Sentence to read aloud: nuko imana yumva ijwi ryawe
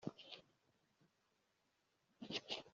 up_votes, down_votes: 0, 2